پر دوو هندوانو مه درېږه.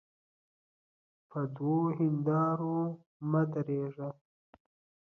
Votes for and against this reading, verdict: 2, 0, accepted